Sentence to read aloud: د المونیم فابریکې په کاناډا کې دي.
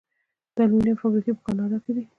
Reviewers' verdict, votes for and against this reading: accepted, 2, 0